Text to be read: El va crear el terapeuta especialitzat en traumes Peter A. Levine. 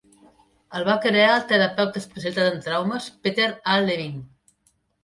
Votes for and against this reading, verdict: 0, 2, rejected